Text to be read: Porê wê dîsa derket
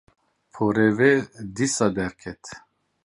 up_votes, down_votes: 0, 2